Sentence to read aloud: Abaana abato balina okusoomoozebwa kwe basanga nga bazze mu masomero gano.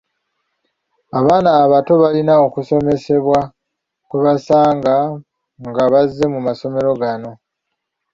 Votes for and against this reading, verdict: 0, 2, rejected